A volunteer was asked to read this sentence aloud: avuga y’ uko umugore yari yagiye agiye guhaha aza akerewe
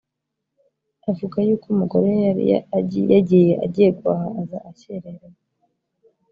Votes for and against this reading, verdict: 0, 2, rejected